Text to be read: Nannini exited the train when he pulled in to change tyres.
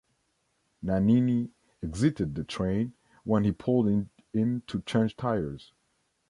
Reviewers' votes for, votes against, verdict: 0, 2, rejected